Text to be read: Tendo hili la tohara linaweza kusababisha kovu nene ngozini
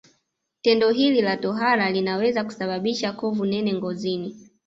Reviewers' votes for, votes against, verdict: 2, 0, accepted